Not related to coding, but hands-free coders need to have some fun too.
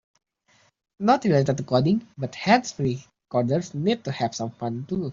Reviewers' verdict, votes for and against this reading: accepted, 2, 0